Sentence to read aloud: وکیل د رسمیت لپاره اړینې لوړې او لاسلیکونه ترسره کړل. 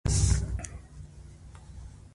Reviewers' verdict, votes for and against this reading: rejected, 1, 2